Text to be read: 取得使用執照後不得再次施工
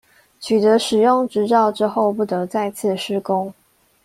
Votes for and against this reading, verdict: 0, 2, rejected